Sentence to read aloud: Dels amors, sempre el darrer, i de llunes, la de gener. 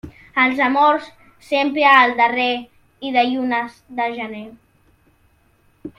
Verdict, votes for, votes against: rejected, 0, 2